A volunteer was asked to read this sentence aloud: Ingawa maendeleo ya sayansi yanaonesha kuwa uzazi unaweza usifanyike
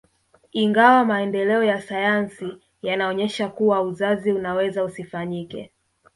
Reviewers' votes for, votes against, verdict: 1, 2, rejected